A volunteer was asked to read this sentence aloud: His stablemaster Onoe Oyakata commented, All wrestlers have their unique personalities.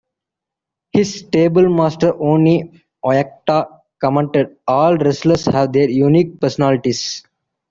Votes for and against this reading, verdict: 2, 1, accepted